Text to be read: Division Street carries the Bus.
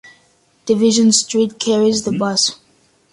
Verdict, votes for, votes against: accepted, 2, 0